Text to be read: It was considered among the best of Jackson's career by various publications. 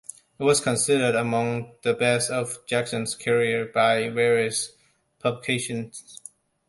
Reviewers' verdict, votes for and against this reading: rejected, 0, 2